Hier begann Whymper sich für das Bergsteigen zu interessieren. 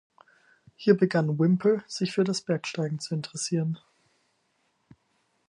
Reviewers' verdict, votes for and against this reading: accepted, 4, 2